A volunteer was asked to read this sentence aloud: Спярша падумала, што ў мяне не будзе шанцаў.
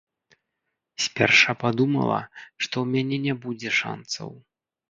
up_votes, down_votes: 1, 2